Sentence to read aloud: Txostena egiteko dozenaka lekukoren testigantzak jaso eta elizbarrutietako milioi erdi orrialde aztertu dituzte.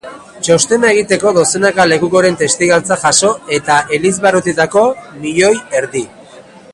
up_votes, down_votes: 0, 2